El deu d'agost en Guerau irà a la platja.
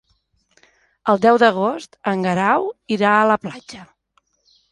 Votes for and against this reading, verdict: 2, 0, accepted